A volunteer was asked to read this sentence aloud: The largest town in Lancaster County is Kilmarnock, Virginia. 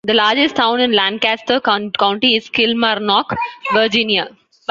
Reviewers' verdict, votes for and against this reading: rejected, 1, 2